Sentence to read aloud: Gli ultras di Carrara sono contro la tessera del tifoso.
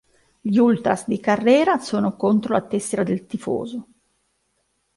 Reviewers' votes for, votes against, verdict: 0, 2, rejected